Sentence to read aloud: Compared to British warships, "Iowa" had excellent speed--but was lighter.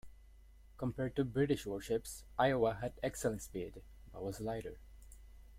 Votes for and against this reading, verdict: 2, 1, accepted